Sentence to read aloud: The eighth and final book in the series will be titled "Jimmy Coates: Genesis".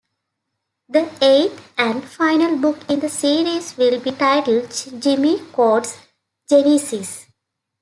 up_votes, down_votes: 2, 0